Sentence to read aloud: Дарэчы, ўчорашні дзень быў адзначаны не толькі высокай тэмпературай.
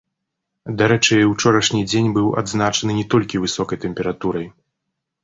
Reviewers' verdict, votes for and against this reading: rejected, 1, 2